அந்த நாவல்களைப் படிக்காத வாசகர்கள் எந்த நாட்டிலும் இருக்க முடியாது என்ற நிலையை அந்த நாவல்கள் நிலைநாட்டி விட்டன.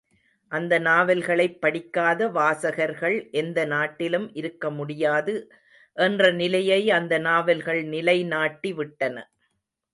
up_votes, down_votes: 2, 0